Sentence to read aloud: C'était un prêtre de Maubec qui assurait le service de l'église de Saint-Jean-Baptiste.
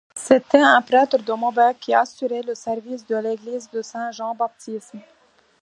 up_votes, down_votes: 2, 1